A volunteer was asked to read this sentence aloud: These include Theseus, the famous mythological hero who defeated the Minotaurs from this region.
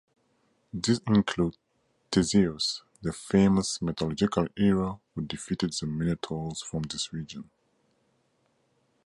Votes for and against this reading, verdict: 2, 0, accepted